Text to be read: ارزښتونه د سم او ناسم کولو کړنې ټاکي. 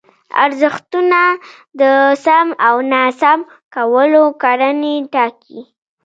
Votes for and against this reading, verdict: 1, 2, rejected